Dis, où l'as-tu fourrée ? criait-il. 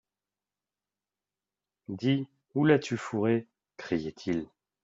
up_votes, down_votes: 2, 0